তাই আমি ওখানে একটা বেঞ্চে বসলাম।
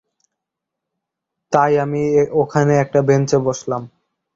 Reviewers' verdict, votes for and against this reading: accepted, 2, 0